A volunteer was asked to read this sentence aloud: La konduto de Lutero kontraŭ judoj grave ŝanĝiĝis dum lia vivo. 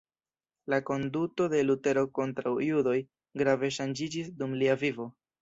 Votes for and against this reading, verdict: 1, 2, rejected